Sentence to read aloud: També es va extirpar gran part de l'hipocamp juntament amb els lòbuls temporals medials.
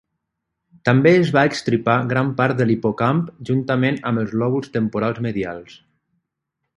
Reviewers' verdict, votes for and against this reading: rejected, 0, 3